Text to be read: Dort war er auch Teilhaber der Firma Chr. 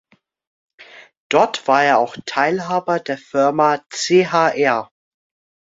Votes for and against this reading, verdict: 2, 0, accepted